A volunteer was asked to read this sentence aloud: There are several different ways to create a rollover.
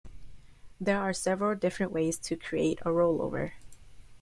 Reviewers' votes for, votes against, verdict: 2, 0, accepted